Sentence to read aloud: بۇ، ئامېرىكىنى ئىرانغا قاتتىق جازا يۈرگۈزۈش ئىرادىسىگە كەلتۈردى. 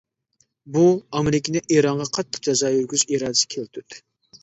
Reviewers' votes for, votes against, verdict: 2, 1, accepted